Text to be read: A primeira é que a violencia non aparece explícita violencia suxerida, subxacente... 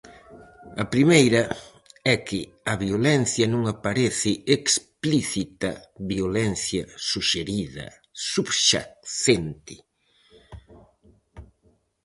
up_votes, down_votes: 2, 2